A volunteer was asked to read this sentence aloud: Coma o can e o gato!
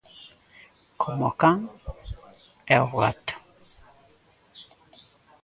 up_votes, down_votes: 2, 1